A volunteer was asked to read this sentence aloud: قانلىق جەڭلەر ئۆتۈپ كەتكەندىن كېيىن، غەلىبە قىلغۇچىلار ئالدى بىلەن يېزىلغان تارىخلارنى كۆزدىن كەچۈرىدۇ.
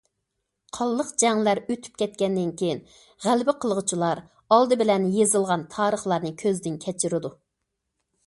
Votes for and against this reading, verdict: 2, 0, accepted